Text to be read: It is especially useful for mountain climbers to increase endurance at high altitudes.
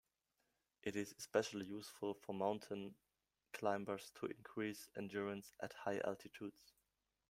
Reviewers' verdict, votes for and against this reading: accepted, 3, 0